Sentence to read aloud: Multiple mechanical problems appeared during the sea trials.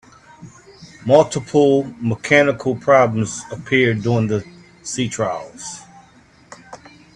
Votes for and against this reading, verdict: 2, 1, accepted